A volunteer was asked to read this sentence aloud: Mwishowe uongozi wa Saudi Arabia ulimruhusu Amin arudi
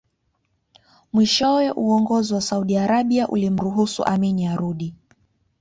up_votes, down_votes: 3, 0